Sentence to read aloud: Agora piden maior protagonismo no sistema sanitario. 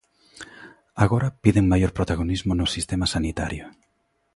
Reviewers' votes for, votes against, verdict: 2, 0, accepted